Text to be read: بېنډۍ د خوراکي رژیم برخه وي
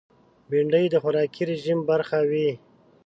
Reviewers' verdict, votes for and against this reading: accepted, 2, 0